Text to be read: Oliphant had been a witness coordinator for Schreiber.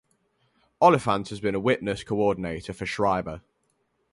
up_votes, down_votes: 0, 2